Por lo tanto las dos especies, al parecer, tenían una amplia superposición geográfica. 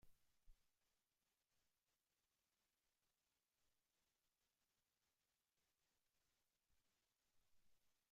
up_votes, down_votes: 0, 2